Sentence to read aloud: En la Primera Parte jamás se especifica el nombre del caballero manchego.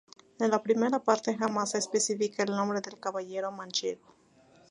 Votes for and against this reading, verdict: 2, 0, accepted